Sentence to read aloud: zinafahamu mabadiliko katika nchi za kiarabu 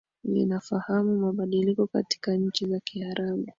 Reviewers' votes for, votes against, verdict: 1, 2, rejected